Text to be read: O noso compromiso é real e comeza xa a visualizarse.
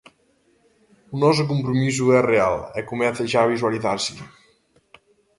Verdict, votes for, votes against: rejected, 1, 2